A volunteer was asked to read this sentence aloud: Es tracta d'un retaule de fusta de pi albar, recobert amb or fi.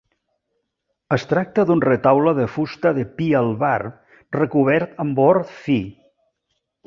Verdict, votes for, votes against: accepted, 3, 0